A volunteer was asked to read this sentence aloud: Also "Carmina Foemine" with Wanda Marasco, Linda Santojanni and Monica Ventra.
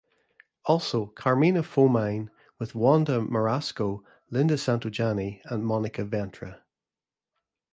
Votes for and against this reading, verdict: 2, 0, accepted